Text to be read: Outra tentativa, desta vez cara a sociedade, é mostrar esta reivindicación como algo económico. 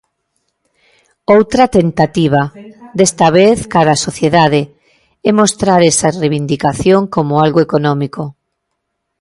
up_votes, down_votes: 1, 2